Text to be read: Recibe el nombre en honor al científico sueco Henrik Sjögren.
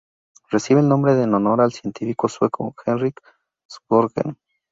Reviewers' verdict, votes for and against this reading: rejected, 0, 2